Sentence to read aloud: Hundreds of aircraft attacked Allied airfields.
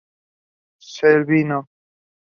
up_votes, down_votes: 0, 2